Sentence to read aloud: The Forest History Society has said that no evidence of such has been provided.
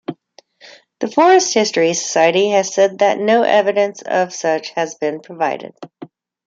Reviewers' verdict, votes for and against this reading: accepted, 2, 0